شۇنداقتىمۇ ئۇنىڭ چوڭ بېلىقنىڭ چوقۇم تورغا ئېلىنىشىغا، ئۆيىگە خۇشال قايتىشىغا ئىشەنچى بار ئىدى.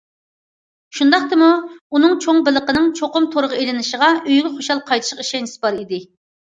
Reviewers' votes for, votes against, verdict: 1, 2, rejected